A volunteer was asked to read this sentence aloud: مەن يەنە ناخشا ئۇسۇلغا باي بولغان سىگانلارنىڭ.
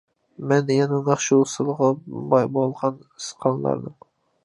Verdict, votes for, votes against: rejected, 0, 2